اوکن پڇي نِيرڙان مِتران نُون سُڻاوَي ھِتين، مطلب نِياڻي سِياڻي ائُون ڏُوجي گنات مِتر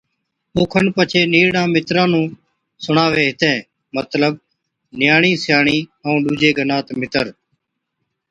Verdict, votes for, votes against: accepted, 2, 0